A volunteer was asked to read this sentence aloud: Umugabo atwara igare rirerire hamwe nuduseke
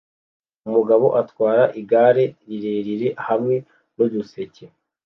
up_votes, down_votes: 2, 0